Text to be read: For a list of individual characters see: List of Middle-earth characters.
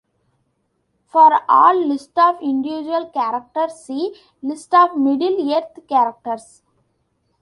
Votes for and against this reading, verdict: 1, 2, rejected